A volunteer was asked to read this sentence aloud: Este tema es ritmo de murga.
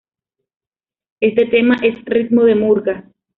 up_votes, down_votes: 2, 0